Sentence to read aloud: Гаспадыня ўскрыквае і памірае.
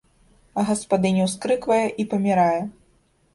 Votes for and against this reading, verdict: 2, 0, accepted